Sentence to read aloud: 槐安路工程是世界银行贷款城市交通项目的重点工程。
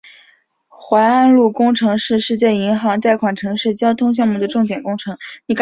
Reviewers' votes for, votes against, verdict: 2, 1, accepted